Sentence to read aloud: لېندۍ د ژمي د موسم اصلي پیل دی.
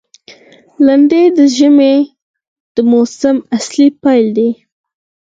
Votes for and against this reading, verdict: 2, 4, rejected